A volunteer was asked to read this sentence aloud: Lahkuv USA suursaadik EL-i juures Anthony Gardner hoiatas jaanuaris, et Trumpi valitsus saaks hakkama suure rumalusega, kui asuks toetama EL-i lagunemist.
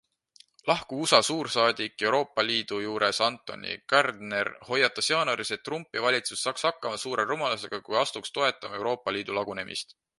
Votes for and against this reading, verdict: 1, 2, rejected